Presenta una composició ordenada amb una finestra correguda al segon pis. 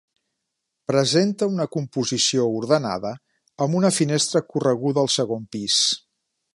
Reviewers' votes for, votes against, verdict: 2, 0, accepted